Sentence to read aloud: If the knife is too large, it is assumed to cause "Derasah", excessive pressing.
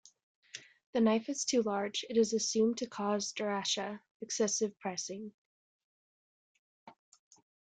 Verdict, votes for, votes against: accepted, 2, 0